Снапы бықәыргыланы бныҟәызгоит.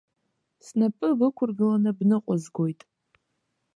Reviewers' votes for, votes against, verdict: 2, 0, accepted